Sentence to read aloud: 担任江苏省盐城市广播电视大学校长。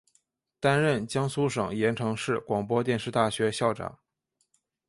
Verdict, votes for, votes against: accepted, 5, 0